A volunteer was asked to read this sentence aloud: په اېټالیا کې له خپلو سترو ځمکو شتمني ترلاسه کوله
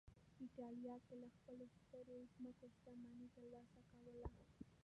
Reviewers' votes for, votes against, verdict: 0, 2, rejected